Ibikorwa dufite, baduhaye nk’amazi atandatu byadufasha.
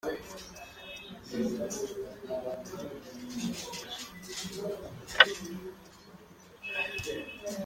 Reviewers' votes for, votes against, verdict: 0, 2, rejected